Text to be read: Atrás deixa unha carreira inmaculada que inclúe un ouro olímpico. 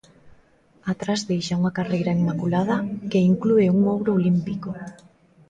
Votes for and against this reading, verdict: 0, 2, rejected